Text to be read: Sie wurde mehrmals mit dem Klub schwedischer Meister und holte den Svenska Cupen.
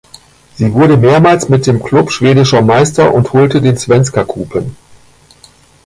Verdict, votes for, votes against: accepted, 2, 0